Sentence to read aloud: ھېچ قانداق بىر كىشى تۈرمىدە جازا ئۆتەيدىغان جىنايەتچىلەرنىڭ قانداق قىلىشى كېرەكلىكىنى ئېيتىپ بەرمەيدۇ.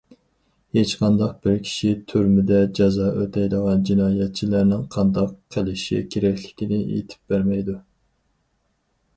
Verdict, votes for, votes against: accepted, 4, 0